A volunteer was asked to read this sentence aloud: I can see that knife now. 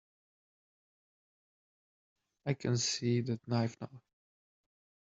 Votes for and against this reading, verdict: 1, 2, rejected